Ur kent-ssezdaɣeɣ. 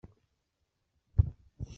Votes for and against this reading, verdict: 0, 2, rejected